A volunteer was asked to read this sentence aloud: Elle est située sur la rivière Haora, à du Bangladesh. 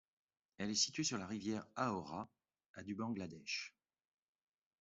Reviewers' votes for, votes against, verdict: 2, 0, accepted